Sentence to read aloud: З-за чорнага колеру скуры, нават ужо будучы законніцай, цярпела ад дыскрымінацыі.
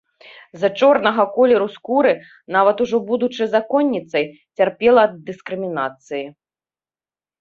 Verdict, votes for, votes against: accepted, 3, 2